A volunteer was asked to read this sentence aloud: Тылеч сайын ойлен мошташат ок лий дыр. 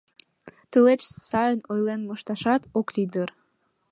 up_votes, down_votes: 2, 0